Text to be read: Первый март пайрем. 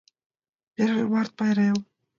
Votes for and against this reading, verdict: 2, 0, accepted